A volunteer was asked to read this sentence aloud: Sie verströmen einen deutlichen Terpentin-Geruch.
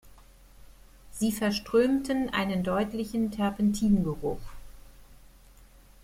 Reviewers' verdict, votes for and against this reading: rejected, 0, 2